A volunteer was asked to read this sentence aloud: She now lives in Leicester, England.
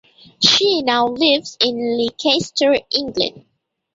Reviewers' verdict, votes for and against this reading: rejected, 0, 2